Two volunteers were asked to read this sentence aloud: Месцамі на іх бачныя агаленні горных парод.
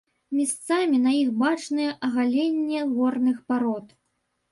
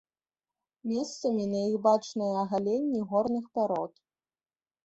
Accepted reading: second